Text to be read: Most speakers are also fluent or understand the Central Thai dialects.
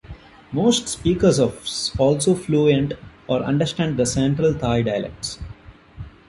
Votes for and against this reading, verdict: 0, 2, rejected